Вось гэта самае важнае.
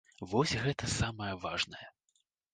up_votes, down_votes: 2, 0